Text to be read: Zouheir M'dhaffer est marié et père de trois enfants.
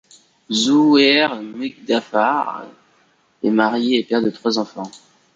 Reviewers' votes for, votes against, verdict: 2, 3, rejected